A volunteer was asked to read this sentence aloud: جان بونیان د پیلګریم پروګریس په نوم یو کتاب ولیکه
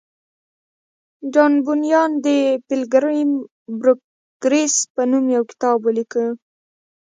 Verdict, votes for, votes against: rejected, 1, 2